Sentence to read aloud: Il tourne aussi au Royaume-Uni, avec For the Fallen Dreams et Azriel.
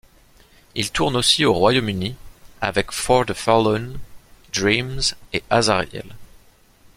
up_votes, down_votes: 1, 2